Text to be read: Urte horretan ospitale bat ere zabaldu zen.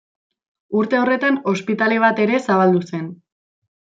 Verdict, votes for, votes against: accepted, 2, 0